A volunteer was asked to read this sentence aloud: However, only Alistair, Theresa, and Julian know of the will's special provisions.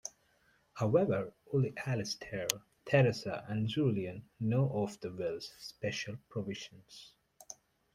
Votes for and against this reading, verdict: 2, 0, accepted